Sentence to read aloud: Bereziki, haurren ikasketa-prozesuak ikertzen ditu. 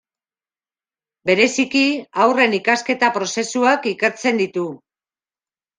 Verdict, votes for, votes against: accepted, 2, 0